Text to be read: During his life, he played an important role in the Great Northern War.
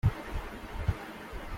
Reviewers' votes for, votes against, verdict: 0, 2, rejected